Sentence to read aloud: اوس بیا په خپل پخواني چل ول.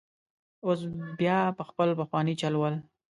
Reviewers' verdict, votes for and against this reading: rejected, 1, 2